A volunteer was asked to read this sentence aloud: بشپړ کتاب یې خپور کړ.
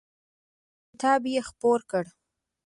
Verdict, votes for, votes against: rejected, 1, 2